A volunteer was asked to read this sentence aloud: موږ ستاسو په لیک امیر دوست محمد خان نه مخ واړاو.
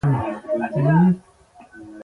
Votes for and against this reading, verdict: 0, 2, rejected